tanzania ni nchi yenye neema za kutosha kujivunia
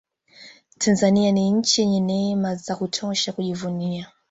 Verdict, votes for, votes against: accepted, 2, 0